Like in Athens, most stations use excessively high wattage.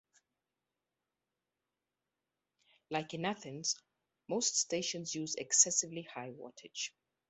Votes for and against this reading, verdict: 2, 0, accepted